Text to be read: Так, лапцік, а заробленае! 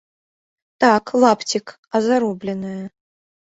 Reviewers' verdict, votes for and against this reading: accepted, 2, 0